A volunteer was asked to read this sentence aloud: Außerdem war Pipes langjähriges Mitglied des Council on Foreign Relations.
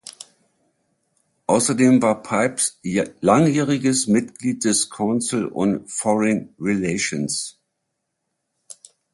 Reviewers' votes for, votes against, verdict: 0, 3, rejected